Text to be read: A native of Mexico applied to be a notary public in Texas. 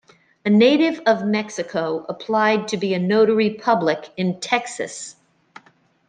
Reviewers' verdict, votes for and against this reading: accepted, 2, 0